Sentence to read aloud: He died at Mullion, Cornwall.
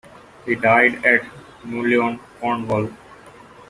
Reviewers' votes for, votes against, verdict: 2, 1, accepted